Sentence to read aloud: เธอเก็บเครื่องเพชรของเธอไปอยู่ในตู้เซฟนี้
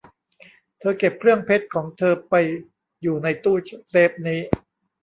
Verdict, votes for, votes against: rejected, 0, 2